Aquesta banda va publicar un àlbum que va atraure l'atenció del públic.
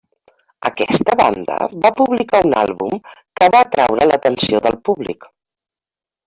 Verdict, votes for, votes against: accepted, 3, 1